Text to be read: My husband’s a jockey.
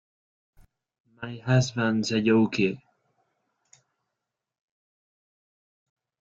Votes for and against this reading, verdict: 0, 2, rejected